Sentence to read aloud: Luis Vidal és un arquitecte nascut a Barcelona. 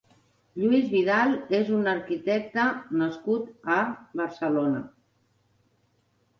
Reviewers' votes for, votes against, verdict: 3, 0, accepted